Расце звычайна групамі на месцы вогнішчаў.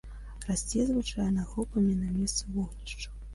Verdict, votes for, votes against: accepted, 2, 1